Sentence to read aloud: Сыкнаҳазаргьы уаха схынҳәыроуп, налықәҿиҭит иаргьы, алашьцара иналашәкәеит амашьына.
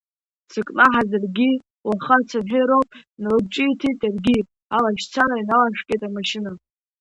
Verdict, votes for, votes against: rejected, 0, 2